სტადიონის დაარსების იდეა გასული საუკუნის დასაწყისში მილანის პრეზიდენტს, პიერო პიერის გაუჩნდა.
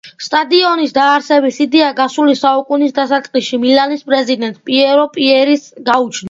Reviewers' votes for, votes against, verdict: 2, 0, accepted